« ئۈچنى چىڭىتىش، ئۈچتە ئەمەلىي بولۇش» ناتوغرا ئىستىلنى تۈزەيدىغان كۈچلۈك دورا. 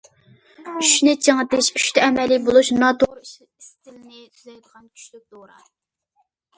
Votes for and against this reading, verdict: 0, 2, rejected